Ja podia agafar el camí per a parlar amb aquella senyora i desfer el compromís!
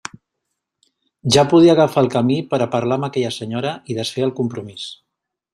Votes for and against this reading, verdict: 3, 0, accepted